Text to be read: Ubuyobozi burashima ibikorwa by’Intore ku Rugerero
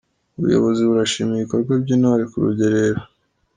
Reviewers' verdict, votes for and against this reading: accepted, 2, 1